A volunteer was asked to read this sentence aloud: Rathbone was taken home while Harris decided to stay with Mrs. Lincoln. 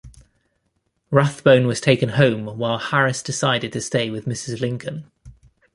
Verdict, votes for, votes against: accepted, 3, 1